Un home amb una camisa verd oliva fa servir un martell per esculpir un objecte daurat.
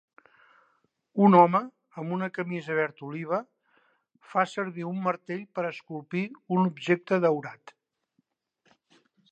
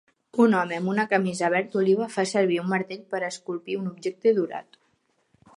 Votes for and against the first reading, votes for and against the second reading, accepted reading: 2, 0, 1, 2, first